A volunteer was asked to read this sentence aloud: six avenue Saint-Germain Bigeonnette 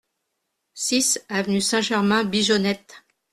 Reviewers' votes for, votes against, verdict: 2, 0, accepted